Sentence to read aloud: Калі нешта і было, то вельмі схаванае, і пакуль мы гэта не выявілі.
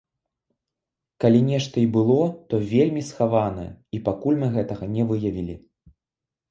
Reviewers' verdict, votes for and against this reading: rejected, 1, 2